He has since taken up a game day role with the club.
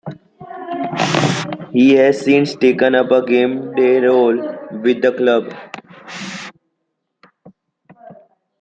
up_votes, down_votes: 2, 0